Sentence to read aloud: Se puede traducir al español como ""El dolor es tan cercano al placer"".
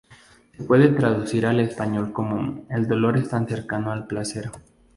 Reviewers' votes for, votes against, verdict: 2, 0, accepted